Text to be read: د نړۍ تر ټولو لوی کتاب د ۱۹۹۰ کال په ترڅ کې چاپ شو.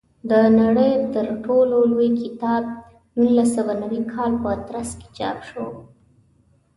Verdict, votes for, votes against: rejected, 0, 2